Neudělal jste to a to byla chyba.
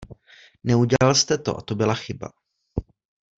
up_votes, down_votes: 2, 0